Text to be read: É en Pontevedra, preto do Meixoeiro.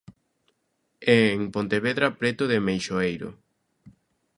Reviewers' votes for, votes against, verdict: 0, 2, rejected